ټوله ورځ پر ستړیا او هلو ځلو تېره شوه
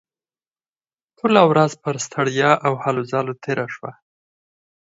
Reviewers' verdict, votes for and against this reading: accepted, 4, 2